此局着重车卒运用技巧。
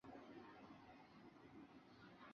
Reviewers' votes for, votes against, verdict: 0, 4, rejected